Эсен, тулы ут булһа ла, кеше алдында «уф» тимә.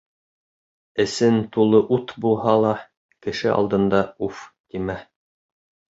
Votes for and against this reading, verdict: 1, 2, rejected